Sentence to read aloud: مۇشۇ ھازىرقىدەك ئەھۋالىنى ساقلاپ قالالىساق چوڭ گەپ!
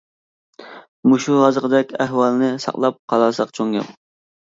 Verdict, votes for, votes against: rejected, 0, 2